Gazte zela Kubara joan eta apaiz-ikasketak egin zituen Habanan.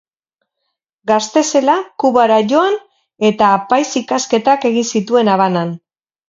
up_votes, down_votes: 2, 0